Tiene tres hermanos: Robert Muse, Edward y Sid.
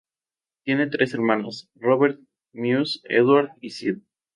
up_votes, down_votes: 2, 0